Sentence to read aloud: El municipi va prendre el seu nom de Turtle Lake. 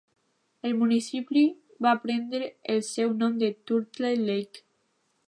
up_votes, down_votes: 1, 2